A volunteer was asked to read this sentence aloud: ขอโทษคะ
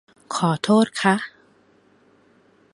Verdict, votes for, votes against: accepted, 2, 0